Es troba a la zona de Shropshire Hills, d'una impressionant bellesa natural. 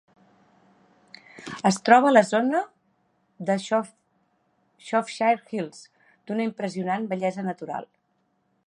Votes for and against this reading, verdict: 0, 2, rejected